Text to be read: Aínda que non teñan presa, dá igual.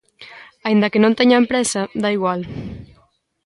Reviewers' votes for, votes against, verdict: 2, 0, accepted